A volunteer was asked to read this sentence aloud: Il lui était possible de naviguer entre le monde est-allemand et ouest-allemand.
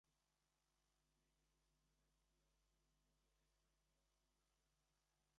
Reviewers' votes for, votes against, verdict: 0, 2, rejected